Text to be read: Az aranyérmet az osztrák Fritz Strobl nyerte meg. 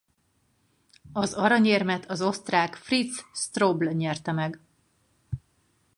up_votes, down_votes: 2, 2